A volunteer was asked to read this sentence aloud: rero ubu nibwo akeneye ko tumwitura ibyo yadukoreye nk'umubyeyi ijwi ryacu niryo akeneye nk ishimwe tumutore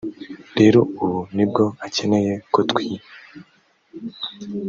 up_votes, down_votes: 0, 2